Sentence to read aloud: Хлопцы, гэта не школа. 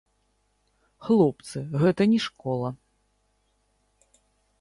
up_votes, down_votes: 0, 2